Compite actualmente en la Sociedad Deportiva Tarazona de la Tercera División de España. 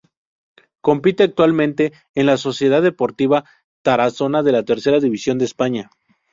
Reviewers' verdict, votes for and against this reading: accepted, 2, 0